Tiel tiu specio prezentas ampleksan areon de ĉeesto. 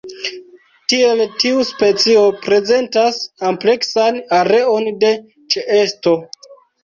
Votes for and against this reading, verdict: 2, 0, accepted